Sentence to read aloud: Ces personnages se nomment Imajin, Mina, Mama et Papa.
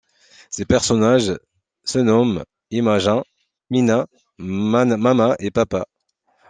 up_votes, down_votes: 2, 1